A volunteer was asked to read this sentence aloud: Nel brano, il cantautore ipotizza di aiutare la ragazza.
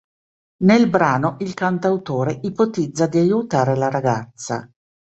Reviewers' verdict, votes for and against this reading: accepted, 2, 0